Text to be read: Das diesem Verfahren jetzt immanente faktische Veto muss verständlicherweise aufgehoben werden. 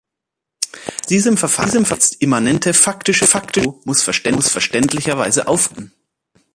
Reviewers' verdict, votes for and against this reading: rejected, 1, 3